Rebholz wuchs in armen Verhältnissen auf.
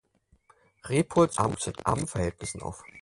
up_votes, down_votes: 0, 4